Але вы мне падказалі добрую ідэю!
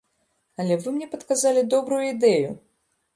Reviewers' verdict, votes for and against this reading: accepted, 2, 0